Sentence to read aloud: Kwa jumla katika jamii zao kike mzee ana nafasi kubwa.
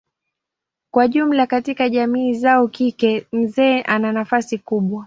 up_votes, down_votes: 2, 0